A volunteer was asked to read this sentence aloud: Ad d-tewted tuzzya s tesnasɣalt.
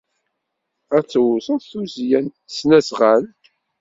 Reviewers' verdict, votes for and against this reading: rejected, 1, 2